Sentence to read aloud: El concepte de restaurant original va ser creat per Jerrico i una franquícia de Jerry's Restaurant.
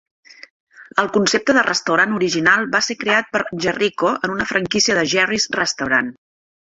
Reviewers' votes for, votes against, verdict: 1, 2, rejected